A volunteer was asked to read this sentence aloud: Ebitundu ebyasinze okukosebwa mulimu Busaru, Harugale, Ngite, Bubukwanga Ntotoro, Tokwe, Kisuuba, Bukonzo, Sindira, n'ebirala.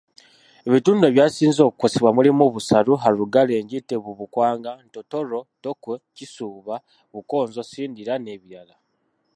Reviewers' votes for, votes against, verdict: 2, 0, accepted